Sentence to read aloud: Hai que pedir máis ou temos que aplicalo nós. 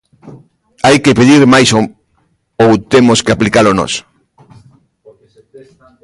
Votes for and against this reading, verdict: 0, 2, rejected